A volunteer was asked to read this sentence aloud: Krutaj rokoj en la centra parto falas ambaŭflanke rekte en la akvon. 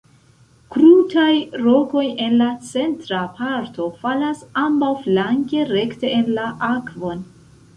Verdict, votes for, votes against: rejected, 0, 2